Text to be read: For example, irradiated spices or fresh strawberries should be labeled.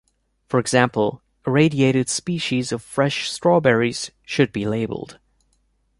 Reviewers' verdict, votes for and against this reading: rejected, 0, 2